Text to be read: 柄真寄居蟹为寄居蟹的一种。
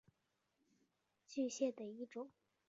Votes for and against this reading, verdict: 0, 3, rejected